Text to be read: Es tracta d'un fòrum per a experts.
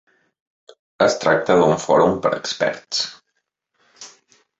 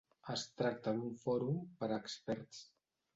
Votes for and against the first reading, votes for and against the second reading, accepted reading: 1, 2, 3, 0, second